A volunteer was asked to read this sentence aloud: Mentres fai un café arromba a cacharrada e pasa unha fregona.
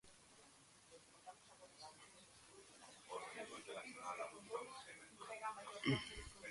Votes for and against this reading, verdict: 0, 2, rejected